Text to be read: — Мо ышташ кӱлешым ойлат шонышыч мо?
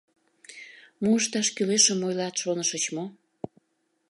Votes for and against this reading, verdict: 2, 0, accepted